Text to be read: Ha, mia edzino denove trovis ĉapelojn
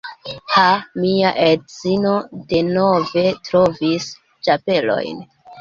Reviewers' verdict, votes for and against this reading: accepted, 2, 1